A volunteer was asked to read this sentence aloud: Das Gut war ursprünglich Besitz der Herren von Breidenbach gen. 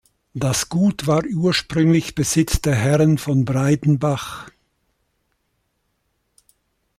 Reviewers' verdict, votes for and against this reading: rejected, 1, 2